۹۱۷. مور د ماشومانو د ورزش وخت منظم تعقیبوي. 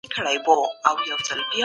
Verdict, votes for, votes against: rejected, 0, 2